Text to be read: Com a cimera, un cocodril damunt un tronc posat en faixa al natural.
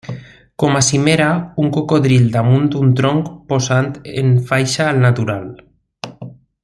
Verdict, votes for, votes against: rejected, 0, 2